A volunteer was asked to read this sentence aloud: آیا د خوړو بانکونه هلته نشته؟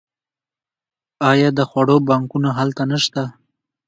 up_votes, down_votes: 2, 0